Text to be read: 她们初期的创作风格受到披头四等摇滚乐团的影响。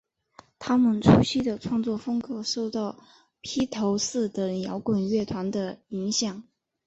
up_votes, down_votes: 3, 1